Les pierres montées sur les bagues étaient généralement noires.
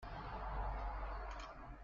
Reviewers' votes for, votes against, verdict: 0, 2, rejected